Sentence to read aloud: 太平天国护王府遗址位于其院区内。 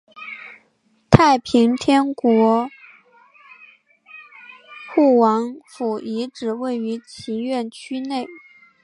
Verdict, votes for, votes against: rejected, 1, 2